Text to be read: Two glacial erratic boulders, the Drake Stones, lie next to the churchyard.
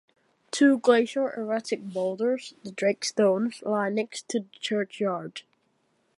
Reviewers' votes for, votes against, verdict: 2, 1, accepted